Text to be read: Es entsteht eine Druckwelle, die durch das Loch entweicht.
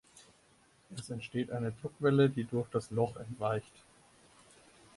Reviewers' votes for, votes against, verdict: 2, 4, rejected